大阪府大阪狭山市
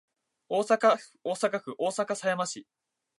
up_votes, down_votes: 0, 2